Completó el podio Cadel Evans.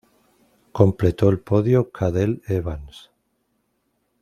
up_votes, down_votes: 2, 1